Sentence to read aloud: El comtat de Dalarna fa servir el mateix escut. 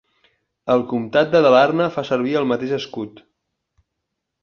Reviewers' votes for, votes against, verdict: 4, 0, accepted